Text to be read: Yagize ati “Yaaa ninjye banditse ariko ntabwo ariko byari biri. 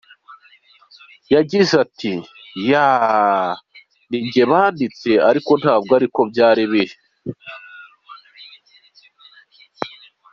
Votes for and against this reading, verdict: 2, 0, accepted